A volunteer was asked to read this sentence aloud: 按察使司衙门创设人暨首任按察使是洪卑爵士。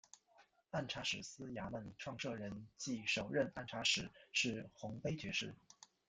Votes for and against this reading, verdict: 1, 2, rejected